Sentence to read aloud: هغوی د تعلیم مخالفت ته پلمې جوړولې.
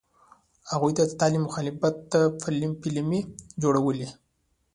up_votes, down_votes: 0, 2